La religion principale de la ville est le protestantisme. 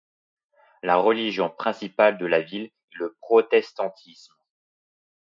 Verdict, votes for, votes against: accepted, 2, 1